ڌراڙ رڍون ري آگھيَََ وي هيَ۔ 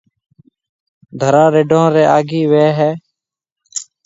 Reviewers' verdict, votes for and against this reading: accepted, 2, 0